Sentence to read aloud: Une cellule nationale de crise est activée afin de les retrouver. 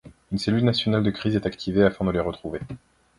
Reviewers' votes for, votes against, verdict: 2, 0, accepted